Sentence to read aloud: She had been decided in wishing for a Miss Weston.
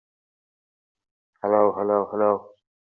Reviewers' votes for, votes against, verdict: 0, 2, rejected